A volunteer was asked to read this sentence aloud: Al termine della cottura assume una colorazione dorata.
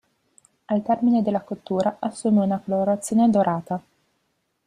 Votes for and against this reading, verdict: 1, 2, rejected